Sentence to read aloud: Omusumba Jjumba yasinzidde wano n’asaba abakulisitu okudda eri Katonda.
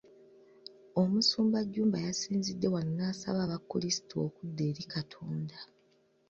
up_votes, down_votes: 2, 0